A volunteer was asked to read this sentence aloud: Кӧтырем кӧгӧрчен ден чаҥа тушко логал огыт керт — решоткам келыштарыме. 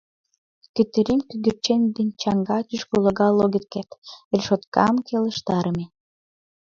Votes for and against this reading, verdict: 1, 2, rejected